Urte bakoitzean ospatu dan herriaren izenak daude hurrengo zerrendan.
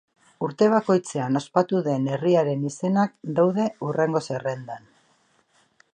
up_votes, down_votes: 2, 1